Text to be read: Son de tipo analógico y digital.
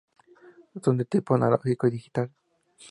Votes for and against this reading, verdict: 2, 0, accepted